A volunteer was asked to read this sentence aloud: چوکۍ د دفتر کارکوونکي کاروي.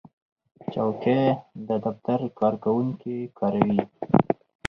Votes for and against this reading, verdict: 4, 0, accepted